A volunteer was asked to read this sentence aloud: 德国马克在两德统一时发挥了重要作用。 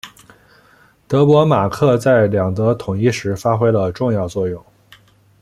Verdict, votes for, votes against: accepted, 2, 0